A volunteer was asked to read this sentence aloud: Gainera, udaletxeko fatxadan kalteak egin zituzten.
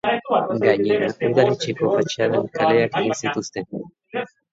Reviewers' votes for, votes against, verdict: 0, 3, rejected